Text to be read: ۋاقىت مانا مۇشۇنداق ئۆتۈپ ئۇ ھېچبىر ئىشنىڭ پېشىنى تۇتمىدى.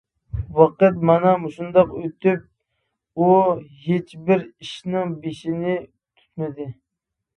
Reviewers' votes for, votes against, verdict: 0, 2, rejected